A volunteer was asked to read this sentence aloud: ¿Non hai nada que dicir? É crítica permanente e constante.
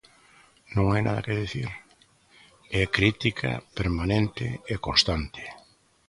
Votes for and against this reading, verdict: 2, 0, accepted